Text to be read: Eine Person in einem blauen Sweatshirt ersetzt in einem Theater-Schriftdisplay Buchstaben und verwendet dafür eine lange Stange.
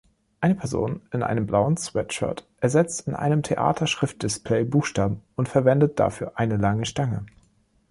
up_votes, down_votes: 3, 0